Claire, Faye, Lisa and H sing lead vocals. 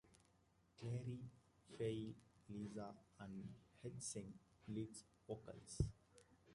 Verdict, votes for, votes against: accepted, 2, 1